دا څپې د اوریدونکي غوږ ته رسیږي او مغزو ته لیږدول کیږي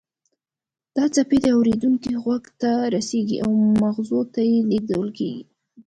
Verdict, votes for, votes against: accepted, 2, 0